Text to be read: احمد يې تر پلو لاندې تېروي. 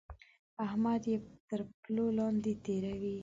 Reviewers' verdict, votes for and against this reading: rejected, 0, 2